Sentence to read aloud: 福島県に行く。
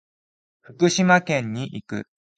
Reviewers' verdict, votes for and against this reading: accepted, 2, 0